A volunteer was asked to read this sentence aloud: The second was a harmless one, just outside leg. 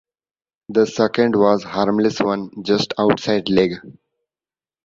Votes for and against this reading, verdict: 1, 2, rejected